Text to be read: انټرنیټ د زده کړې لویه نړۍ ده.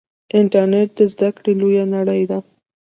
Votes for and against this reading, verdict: 2, 0, accepted